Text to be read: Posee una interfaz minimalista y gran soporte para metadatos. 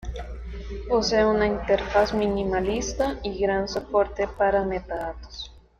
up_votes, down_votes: 2, 0